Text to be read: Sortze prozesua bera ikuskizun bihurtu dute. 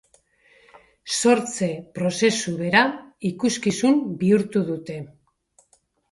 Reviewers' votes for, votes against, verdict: 1, 2, rejected